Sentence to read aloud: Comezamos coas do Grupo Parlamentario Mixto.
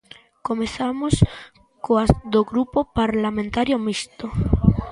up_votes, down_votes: 2, 1